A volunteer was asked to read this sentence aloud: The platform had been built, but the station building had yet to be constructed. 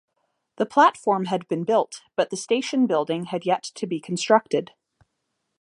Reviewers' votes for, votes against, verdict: 2, 0, accepted